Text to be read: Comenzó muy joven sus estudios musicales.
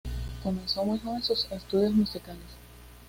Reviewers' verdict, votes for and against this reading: accepted, 2, 0